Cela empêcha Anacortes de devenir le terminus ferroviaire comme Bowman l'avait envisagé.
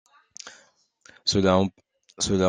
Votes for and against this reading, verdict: 0, 2, rejected